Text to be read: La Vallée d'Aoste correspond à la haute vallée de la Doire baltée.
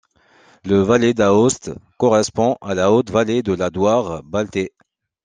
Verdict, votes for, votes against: rejected, 0, 2